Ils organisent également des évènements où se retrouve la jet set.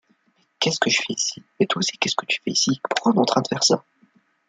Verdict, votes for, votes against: rejected, 0, 2